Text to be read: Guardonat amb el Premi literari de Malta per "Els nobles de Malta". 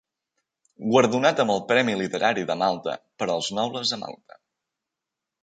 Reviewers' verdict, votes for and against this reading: accepted, 2, 0